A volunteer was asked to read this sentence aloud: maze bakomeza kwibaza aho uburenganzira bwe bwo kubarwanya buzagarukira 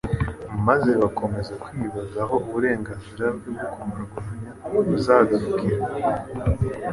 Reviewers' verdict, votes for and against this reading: accepted, 2, 0